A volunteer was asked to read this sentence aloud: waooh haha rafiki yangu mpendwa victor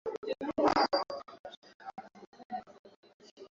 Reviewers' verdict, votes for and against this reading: rejected, 0, 2